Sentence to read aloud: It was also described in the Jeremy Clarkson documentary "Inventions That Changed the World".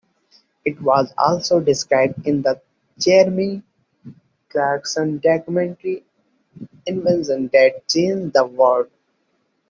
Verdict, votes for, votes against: rejected, 0, 2